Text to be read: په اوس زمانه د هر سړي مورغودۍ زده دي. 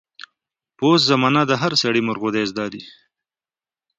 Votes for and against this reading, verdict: 2, 1, accepted